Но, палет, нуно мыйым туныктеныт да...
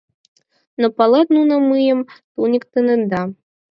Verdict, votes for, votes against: rejected, 2, 4